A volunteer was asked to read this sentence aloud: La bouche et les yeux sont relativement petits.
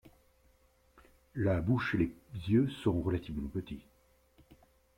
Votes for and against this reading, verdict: 2, 0, accepted